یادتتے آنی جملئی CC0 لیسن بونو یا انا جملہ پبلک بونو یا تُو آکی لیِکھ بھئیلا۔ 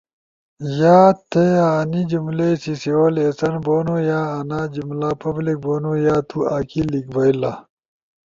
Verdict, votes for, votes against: rejected, 0, 2